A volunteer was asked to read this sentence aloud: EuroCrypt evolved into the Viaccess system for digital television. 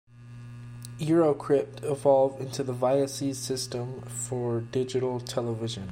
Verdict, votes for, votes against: accepted, 2, 0